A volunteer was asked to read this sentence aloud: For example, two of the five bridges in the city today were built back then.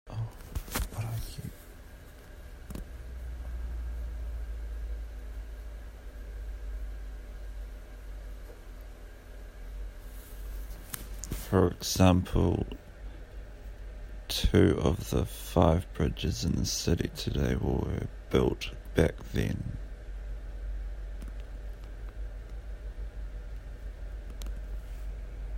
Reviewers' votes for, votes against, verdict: 2, 3, rejected